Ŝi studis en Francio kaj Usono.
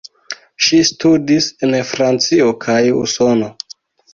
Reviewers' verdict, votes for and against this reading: accepted, 2, 0